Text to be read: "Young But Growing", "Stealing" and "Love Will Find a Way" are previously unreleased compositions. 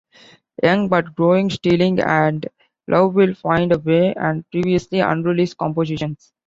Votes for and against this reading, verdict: 2, 0, accepted